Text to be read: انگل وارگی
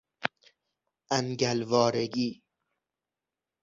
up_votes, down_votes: 6, 0